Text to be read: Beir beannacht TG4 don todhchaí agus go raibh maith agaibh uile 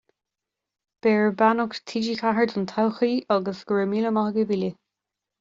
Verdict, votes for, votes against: rejected, 0, 2